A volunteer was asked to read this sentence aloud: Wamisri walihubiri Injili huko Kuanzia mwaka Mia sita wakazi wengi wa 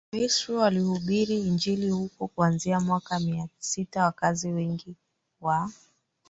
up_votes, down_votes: 1, 2